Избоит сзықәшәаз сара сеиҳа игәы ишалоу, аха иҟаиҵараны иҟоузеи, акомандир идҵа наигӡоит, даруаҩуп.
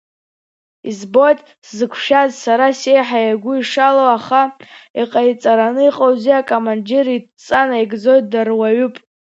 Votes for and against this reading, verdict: 1, 3, rejected